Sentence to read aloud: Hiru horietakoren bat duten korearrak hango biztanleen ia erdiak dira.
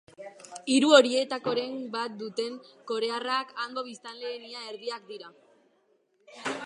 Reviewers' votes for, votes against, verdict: 4, 1, accepted